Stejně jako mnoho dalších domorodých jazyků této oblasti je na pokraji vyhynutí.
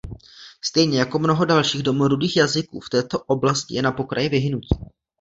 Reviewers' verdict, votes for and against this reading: rejected, 1, 2